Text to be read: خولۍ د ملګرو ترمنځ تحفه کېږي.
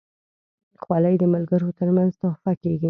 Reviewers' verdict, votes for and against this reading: accepted, 2, 0